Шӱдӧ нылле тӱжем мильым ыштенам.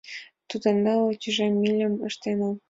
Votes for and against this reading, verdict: 2, 1, accepted